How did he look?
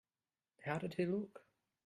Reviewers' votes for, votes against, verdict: 2, 0, accepted